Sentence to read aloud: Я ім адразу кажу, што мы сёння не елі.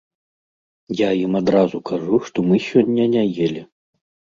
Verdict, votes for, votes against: accepted, 2, 0